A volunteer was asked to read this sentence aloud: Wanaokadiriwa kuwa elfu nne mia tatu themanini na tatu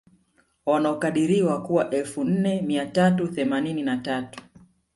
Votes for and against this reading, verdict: 1, 2, rejected